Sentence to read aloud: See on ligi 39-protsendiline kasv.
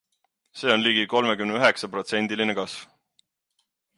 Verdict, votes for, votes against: rejected, 0, 2